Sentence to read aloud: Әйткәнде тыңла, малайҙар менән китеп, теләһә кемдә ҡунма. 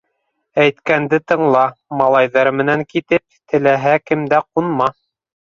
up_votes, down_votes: 3, 0